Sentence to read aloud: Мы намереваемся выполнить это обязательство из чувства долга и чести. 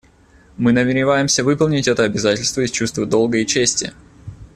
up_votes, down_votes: 2, 0